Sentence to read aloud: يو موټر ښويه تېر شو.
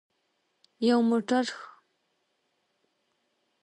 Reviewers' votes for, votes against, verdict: 0, 2, rejected